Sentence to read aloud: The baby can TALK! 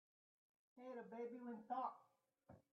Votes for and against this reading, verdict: 0, 3, rejected